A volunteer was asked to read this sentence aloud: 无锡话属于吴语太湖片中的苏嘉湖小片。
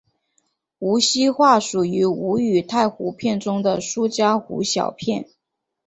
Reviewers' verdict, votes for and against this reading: accepted, 7, 0